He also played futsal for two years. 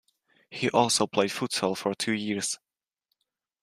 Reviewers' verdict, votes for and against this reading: accepted, 2, 1